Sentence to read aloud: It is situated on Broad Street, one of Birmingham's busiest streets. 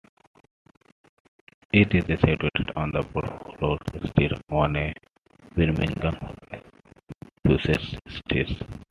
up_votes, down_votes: 0, 2